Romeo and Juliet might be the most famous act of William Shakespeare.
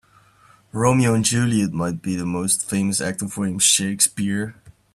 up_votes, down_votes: 1, 2